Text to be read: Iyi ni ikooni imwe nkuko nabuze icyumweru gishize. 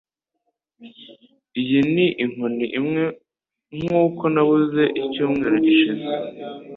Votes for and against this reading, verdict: 2, 0, accepted